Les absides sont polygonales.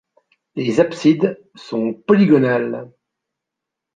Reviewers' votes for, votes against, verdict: 2, 0, accepted